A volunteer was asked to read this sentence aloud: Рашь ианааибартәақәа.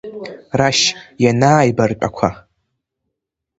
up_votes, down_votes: 2, 0